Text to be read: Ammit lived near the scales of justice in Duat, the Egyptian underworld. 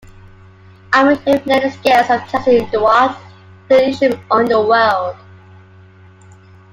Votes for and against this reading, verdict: 0, 2, rejected